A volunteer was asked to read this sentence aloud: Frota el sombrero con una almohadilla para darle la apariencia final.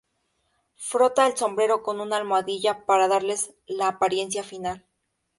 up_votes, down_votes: 0, 4